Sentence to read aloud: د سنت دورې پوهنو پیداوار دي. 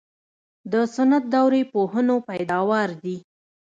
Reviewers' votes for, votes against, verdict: 2, 0, accepted